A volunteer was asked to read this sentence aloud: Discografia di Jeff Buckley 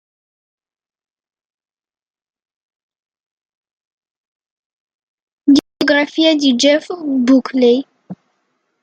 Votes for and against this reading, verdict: 0, 2, rejected